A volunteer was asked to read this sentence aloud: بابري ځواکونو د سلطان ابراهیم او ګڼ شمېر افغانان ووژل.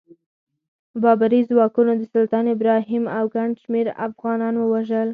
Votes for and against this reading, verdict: 0, 4, rejected